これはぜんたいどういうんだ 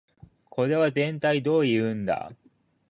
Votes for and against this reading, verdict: 2, 0, accepted